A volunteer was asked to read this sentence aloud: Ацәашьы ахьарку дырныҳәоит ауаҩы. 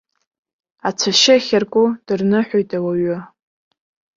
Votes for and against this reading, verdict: 2, 0, accepted